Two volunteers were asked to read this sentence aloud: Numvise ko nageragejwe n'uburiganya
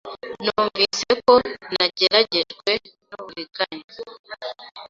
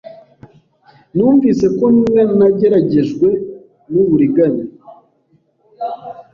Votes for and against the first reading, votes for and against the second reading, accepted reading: 2, 0, 0, 2, first